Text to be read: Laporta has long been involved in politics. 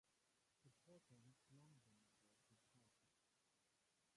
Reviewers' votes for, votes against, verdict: 0, 3, rejected